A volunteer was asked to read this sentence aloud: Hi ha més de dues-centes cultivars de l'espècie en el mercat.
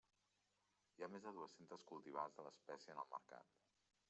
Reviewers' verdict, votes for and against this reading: accepted, 3, 1